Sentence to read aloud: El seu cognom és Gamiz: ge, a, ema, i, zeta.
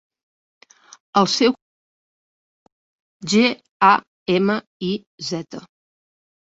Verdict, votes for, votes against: rejected, 0, 2